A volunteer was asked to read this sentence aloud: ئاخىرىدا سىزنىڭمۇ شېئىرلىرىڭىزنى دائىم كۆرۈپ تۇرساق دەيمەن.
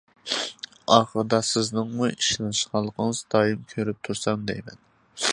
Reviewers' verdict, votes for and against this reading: rejected, 0, 2